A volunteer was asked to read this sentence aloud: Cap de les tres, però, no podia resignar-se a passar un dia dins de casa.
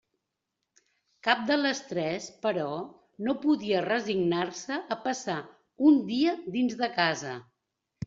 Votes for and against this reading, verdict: 3, 0, accepted